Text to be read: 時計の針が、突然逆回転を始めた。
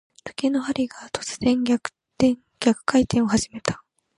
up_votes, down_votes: 2, 0